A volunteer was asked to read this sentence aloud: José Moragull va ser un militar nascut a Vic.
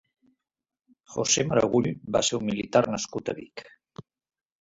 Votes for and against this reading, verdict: 2, 4, rejected